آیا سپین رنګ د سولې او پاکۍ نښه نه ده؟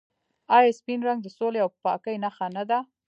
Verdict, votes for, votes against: rejected, 1, 2